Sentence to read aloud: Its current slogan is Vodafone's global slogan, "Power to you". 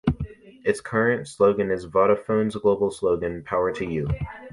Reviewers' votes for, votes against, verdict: 3, 0, accepted